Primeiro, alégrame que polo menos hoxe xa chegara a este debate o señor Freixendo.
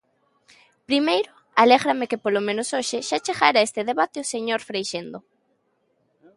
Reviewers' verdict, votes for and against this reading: accepted, 2, 0